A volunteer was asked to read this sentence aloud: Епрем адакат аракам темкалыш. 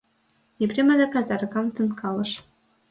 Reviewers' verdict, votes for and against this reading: accepted, 2, 0